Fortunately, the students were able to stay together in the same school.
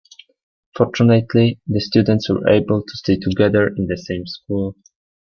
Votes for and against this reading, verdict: 2, 0, accepted